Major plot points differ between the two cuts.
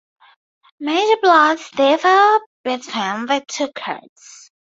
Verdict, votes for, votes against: rejected, 0, 2